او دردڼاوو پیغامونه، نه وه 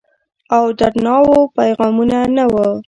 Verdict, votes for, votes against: rejected, 1, 2